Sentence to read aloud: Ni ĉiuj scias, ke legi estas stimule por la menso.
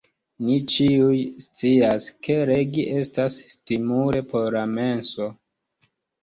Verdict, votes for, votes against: rejected, 0, 2